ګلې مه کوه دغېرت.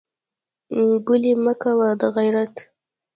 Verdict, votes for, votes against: accepted, 2, 1